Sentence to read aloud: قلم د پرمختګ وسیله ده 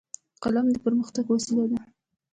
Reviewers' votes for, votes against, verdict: 2, 0, accepted